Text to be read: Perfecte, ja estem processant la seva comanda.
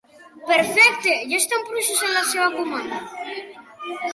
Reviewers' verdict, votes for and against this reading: accepted, 2, 1